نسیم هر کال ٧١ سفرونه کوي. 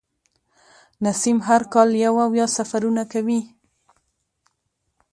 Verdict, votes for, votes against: rejected, 0, 2